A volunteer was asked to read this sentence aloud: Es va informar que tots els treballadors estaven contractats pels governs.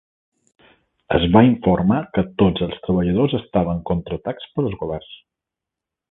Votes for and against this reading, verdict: 1, 2, rejected